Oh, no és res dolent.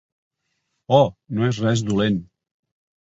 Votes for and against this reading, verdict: 3, 0, accepted